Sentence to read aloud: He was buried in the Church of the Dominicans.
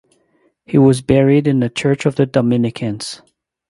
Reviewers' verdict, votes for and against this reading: accepted, 2, 0